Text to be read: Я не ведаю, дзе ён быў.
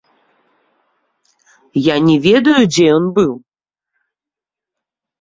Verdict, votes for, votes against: accepted, 3, 0